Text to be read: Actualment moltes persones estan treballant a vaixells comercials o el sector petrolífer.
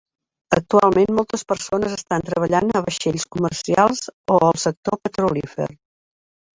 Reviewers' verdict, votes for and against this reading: accepted, 2, 0